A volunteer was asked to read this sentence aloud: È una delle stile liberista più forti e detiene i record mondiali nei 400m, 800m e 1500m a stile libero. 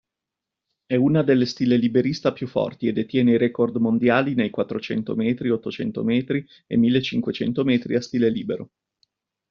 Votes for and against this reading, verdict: 0, 2, rejected